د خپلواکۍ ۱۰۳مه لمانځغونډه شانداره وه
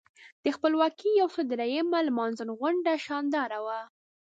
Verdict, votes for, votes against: rejected, 0, 2